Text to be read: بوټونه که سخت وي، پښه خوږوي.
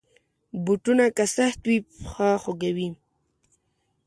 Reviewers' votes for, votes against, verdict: 2, 0, accepted